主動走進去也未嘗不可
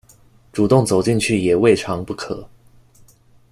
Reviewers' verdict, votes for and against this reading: accepted, 2, 0